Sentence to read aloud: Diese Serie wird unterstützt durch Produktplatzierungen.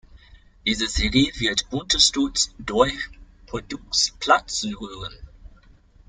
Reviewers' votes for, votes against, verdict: 0, 2, rejected